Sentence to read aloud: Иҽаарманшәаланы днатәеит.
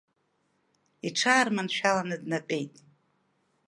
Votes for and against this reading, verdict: 2, 0, accepted